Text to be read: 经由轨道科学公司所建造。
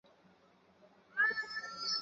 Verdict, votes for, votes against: rejected, 0, 2